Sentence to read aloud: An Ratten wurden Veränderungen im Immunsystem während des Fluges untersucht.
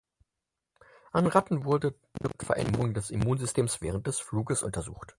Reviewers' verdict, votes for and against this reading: rejected, 0, 4